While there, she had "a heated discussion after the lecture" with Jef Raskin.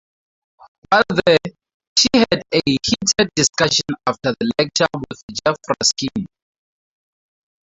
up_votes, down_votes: 4, 0